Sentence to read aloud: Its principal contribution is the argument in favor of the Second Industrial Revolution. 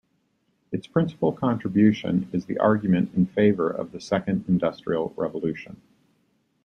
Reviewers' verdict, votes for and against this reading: accepted, 2, 0